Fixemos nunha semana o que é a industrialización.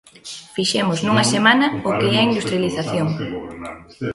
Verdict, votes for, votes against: rejected, 0, 2